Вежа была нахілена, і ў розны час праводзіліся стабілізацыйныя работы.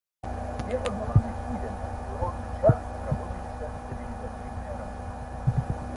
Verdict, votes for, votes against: rejected, 0, 2